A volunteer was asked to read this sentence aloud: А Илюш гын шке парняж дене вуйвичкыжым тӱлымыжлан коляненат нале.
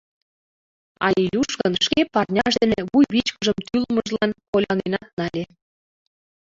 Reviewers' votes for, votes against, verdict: 0, 2, rejected